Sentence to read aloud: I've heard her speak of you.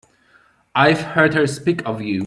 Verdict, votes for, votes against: accepted, 2, 0